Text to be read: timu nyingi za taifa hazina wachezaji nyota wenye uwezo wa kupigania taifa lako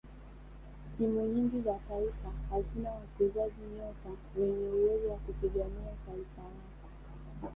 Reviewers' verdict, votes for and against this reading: accepted, 2, 0